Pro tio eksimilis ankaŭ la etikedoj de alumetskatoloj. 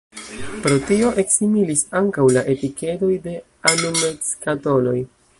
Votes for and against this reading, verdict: 1, 2, rejected